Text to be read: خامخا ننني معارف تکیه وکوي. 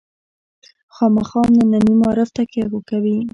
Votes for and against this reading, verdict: 1, 2, rejected